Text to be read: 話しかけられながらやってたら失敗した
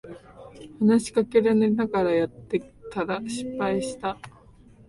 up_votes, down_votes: 1, 2